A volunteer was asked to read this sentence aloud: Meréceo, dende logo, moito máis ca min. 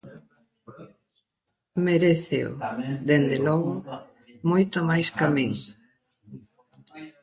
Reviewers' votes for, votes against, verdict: 1, 2, rejected